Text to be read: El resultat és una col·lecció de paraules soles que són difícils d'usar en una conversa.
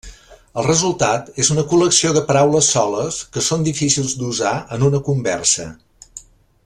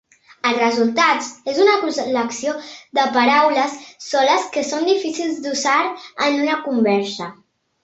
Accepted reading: first